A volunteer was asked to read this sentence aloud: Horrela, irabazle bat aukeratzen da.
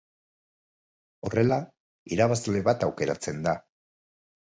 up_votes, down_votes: 4, 0